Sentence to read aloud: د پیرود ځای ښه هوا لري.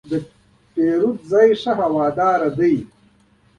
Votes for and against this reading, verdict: 1, 2, rejected